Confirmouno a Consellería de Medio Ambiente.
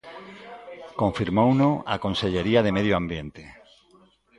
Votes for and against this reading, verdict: 1, 2, rejected